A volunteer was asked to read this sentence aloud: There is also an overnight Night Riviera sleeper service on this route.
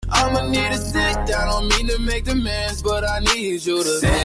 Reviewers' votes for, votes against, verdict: 0, 2, rejected